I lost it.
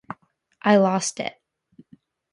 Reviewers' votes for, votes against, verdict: 2, 0, accepted